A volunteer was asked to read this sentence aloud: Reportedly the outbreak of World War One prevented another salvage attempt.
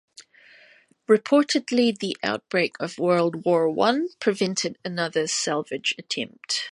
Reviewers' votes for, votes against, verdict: 2, 0, accepted